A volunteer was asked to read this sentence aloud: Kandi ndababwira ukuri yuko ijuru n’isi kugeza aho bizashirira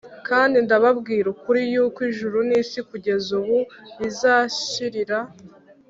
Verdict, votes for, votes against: rejected, 2, 3